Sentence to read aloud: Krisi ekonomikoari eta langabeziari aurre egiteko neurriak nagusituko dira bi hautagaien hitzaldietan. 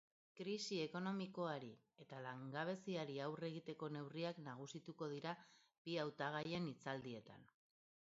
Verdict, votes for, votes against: accepted, 4, 0